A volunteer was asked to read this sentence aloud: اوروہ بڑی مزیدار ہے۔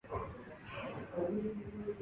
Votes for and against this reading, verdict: 3, 5, rejected